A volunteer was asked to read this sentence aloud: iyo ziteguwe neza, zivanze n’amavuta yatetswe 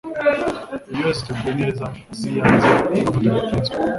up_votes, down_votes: 0, 2